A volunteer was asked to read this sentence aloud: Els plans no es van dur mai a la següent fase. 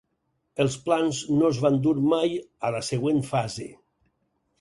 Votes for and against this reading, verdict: 4, 0, accepted